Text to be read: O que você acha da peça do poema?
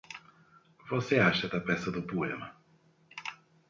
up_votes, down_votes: 0, 2